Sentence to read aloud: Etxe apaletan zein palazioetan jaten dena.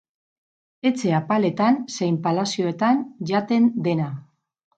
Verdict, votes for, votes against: rejected, 2, 2